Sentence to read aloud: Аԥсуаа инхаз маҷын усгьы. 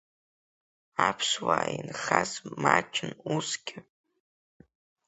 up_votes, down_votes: 2, 1